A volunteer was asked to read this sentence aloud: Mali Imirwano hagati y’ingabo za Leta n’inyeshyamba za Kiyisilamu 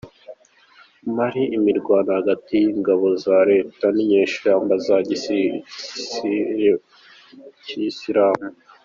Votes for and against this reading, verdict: 0, 2, rejected